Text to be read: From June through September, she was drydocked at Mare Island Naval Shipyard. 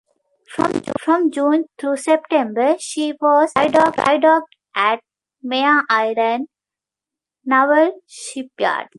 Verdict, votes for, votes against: rejected, 0, 2